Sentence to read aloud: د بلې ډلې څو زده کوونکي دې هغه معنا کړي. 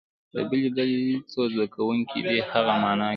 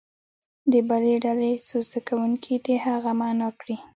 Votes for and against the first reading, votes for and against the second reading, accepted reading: 0, 2, 2, 0, second